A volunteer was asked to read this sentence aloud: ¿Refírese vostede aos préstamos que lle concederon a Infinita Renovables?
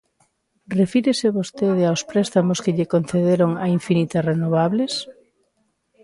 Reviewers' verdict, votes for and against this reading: accepted, 2, 1